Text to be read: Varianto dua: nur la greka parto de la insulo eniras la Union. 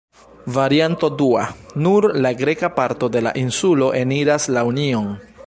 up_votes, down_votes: 1, 2